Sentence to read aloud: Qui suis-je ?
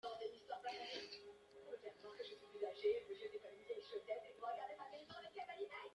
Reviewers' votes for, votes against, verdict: 0, 2, rejected